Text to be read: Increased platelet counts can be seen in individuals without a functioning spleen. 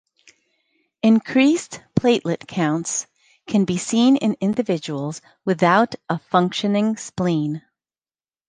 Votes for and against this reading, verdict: 2, 0, accepted